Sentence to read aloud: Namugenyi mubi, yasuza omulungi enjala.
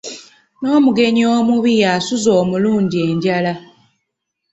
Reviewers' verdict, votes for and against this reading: rejected, 0, 2